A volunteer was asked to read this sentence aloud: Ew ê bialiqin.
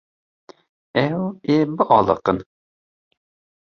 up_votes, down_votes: 1, 2